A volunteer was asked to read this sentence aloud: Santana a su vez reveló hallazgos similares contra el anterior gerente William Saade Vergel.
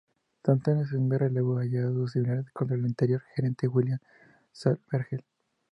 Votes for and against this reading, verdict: 2, 2, rejected